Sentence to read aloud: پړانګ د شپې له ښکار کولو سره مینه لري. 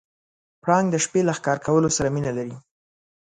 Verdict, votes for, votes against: accepted, 2, 0